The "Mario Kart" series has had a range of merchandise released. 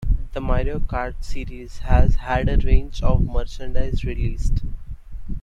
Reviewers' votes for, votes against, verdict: 1, 2, rejected